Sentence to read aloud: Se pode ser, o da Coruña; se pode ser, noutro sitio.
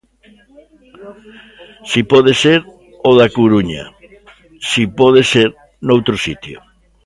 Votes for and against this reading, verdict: 1, 2, rejected